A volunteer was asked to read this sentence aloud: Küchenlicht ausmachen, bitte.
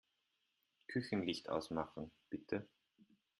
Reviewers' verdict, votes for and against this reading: accepted, 2, 0